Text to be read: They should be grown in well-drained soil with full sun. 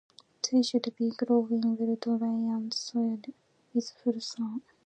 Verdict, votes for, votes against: rejected, 0, 2